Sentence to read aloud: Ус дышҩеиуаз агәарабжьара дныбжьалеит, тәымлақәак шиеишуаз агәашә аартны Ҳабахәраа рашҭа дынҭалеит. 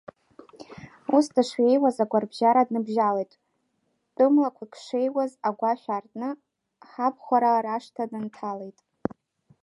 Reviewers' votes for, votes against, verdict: 1, 2, rejected